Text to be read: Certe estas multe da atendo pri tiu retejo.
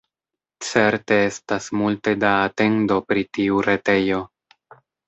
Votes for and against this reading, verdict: 2, 0, accepted